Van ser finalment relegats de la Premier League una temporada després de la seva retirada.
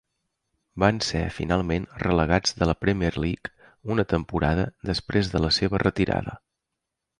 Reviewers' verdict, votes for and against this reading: accepted, 4, 0